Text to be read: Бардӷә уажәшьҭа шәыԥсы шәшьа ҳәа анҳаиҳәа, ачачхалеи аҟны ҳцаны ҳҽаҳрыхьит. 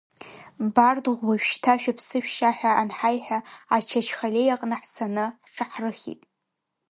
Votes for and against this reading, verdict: 1, 2, rejected